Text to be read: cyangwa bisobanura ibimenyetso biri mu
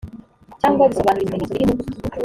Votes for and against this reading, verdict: 1, 2, rejected